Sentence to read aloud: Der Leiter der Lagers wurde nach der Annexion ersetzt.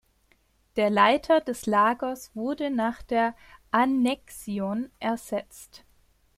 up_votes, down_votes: 2, 1